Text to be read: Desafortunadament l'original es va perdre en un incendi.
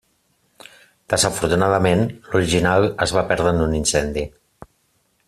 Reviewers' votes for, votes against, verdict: 3, 0, accepted